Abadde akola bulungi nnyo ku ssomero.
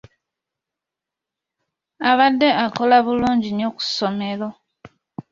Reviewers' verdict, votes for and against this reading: accepted, 2, 1